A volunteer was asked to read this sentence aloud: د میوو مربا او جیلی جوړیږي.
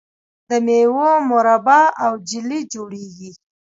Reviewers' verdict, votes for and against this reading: rejected, 1, 2